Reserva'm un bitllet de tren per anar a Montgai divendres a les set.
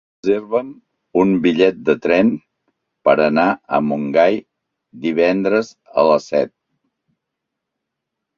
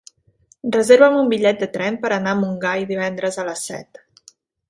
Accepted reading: second